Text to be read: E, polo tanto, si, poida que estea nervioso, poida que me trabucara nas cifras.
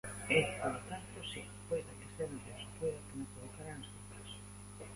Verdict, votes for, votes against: rejected, 0, 2